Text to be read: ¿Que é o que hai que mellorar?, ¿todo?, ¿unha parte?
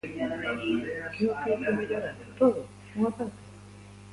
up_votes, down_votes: 0, 2